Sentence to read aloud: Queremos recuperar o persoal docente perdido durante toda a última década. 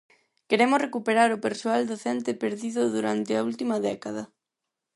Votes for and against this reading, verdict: 2, 4, rejected